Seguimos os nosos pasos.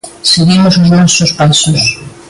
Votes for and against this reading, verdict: 2, 0, accepted